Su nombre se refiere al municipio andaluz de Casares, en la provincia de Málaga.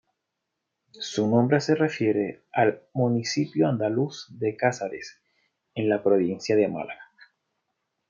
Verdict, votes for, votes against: accepted, 2, 0